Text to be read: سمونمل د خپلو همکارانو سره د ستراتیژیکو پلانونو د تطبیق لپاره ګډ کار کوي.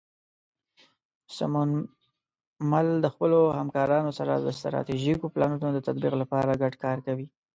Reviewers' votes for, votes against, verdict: 2, 0, accepted